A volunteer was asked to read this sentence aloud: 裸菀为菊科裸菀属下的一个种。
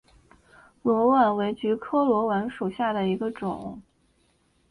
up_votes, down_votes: 2, 0